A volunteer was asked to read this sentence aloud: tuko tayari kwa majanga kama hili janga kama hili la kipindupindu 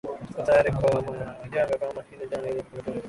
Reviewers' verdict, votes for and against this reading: rejected, 0, 2